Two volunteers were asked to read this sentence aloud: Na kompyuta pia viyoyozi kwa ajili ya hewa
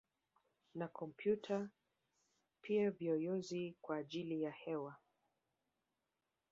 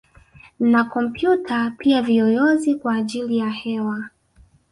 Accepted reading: second